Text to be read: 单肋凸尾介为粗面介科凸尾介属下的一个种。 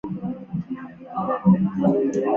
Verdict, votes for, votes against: rejected, 0, 3